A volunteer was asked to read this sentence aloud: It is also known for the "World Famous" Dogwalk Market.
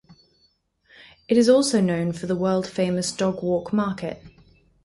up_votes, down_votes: 4, 0